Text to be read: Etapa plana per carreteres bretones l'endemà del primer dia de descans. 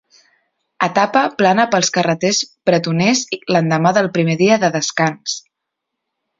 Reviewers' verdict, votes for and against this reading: rejected, 0, 2